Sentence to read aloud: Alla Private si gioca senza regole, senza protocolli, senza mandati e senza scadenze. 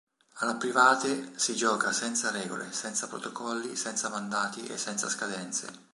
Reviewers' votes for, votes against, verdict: 3, 0, accepted